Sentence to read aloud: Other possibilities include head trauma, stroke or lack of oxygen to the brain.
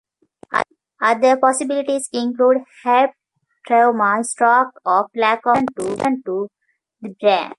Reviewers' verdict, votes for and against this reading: rejected, 0, 2